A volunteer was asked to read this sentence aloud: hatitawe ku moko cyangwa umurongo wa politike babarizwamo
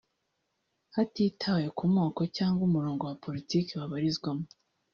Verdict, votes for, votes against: rejected, 1, 2